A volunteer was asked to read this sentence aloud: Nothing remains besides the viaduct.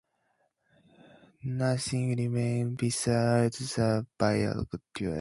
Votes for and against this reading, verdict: 0, 2, rejected